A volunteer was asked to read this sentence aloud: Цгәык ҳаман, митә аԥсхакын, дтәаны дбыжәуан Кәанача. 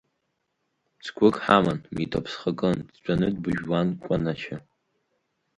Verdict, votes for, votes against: accepted, 3, 0